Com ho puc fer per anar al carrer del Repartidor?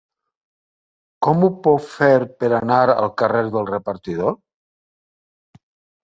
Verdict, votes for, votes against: accepted, 3, 0